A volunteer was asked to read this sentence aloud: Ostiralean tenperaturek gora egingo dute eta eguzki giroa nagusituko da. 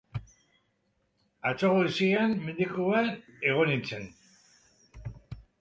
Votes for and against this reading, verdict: 0, 2, rejected